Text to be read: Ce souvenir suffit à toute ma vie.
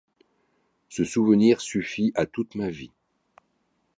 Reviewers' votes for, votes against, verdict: 2, 0, accepted